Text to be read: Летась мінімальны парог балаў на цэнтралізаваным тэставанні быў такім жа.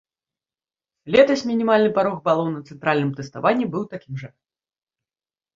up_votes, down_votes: 0, 2